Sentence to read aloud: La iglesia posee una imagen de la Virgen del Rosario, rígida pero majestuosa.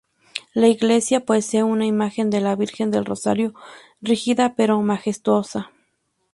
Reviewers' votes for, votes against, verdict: 2, 0, accepted